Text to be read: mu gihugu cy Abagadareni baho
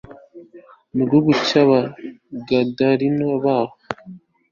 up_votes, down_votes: 2, 0